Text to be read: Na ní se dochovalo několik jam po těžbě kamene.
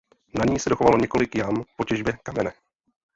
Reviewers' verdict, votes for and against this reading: rejected, 0, 2